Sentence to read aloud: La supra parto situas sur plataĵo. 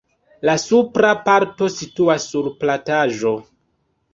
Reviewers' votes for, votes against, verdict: 2, 0, accepted